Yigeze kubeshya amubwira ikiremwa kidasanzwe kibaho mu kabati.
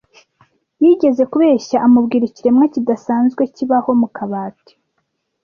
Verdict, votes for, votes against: accepted, 2, 0